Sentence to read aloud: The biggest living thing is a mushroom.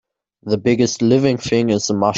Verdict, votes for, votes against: rejected, 0, 2